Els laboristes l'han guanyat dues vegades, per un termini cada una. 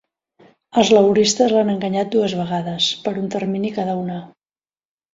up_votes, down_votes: 0, 2